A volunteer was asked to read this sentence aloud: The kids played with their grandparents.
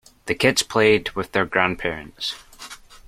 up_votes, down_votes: 2, 0